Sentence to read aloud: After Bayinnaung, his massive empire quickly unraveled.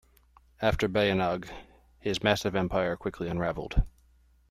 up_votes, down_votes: 2, 0